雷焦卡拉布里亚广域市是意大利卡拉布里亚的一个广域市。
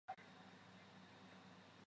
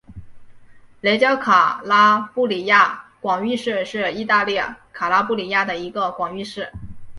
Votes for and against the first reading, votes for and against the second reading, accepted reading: 1, 3, 6, 1, second